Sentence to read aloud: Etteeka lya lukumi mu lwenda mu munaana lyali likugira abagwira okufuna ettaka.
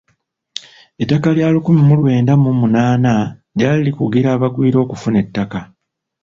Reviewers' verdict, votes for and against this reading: rejected, 0, 2